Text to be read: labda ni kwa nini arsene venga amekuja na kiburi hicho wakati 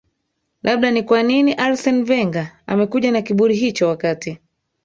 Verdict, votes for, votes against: accepted, 3, 2